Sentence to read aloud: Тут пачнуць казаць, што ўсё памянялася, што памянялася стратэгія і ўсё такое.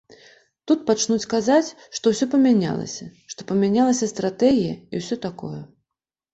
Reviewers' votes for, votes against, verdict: 2, 0, accepted